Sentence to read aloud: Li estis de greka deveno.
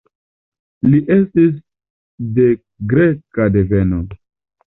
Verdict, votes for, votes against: accepted, 2, 0